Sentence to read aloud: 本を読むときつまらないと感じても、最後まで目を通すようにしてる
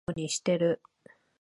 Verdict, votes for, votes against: rejected, 0, 2